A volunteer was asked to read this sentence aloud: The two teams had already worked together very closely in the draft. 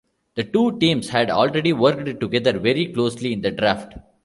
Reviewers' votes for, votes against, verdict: 1, 2, rejected